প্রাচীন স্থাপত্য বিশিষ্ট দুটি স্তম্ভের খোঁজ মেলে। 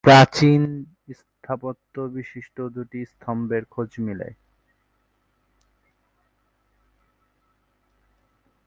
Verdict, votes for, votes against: rejected, 2, 3